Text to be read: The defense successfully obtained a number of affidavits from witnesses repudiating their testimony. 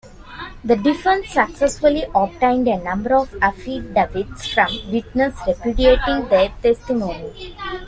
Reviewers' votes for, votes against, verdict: 1, 2, rejected